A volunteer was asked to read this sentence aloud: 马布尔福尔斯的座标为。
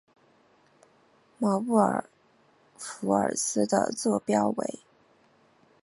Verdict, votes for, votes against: accepted, 3, 0